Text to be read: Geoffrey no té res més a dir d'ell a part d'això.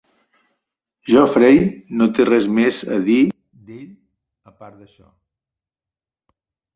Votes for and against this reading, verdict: 2, 1, accepted